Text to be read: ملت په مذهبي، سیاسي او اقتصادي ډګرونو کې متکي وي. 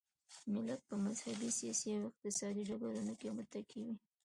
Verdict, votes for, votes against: accepted, 2, 0